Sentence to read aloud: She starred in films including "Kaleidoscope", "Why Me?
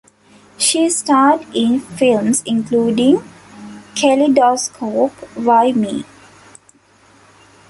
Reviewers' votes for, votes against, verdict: 0, 2, rejected